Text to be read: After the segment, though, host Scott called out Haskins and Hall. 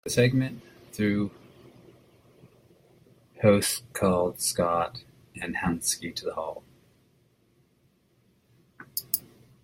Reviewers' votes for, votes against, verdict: 0, 2, rejected